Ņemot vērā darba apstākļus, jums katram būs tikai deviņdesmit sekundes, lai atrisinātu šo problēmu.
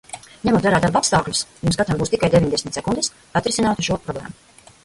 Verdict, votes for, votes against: rejected, 1, 2